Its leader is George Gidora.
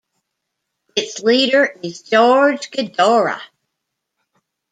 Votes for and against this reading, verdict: 1, 2, rejected